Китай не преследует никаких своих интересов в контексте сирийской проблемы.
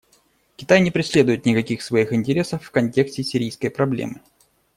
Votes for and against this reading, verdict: 2, 0, accepted